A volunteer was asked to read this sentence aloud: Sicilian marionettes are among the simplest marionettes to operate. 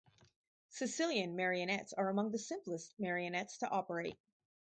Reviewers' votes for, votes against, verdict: 4, 0, accepted